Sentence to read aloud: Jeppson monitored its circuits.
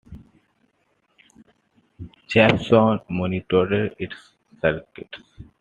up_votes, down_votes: 2, 0